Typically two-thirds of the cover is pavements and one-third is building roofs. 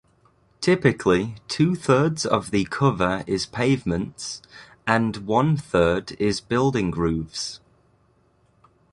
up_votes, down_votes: 2, 0